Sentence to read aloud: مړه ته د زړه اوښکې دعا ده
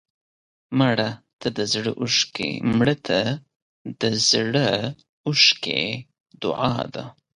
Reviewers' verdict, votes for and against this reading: rejected, 1, 2